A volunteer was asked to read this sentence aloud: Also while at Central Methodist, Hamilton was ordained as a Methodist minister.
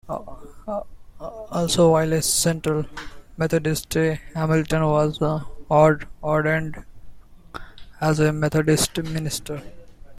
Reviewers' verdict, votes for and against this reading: rejected, 1, 2